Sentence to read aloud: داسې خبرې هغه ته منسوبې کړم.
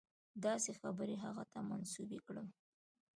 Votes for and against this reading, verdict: 2, 0, accepted